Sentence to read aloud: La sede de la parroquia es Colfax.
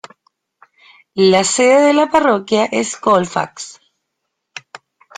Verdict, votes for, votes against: accepted, 2, 0